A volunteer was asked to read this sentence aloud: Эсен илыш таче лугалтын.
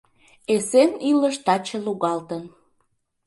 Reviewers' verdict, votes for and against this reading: accepted, 2, 0